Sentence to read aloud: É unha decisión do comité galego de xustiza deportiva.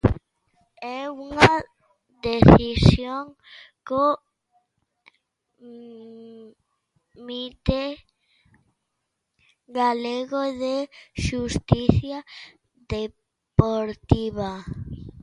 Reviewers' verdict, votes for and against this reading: rejected, 0, 2